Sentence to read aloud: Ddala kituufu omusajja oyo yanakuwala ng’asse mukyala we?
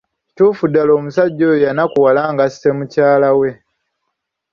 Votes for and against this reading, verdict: 2, 3, rejected